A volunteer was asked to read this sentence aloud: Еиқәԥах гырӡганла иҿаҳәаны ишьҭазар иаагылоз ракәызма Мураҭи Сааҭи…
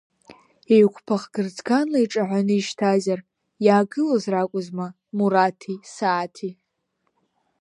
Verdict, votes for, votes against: rejected, 1, 2